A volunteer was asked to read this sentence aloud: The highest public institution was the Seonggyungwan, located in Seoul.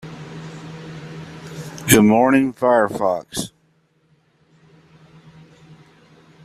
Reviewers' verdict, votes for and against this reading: rejected, 0, 2